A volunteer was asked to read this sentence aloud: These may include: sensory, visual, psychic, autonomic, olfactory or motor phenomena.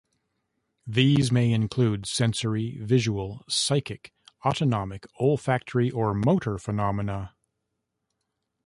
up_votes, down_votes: 2, 0